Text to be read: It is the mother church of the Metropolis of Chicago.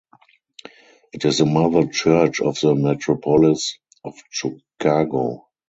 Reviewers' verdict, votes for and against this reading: rejected, 2, 2